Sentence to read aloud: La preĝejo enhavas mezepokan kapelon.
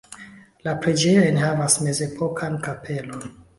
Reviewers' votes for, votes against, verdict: 2, 0, accepted